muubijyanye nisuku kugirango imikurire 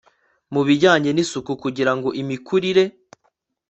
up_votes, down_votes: 2, 0